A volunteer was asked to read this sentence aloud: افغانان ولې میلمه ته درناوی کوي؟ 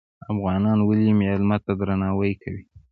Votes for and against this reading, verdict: 1, 2, rejected